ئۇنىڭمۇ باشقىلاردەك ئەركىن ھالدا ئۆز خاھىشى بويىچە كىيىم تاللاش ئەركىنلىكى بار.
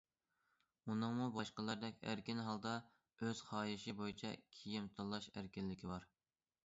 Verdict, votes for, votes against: accepted, 2, 0